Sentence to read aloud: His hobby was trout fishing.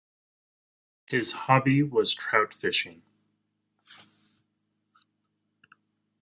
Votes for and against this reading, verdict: 4, 0, accepted